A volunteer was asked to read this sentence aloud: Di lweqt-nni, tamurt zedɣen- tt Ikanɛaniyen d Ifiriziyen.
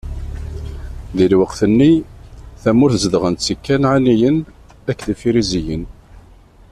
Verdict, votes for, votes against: rejected, 0, 2